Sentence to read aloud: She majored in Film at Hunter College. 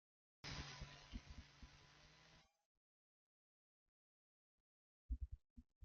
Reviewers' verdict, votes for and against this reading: rejected, 0, 2